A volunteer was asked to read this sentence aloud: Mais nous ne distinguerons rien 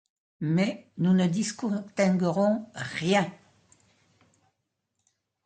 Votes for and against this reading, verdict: 0, 2, rejected